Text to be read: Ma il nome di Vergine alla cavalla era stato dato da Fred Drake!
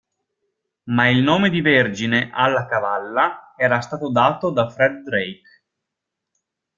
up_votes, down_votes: 2, 0